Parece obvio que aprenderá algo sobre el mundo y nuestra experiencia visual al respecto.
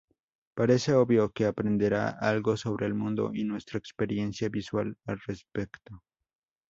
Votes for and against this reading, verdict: 4, 0, accepted